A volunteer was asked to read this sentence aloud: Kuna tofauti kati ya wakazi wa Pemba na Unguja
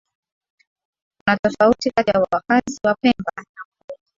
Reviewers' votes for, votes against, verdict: 0, 2, rejected